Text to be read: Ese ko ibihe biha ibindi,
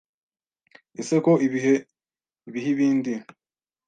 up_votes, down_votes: 2, 0